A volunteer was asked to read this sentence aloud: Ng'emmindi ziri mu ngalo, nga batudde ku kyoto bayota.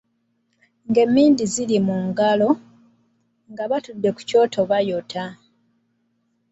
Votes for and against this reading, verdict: 2, 0, accepted